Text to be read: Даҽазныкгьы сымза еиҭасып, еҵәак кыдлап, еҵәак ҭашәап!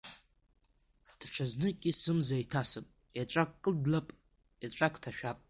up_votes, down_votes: 1, 2